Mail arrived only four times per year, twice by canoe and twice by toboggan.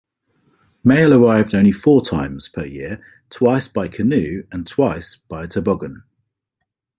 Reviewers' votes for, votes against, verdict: 2, 0, accepted